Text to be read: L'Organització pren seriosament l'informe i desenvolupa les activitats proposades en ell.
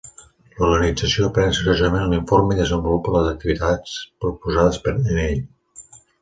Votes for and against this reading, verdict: 1, 2, rejected